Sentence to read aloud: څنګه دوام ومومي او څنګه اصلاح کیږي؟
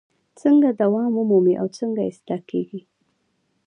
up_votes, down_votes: 0, 2